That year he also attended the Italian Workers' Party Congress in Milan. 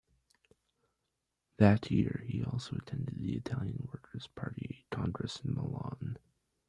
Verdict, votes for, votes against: rejected, 1, 2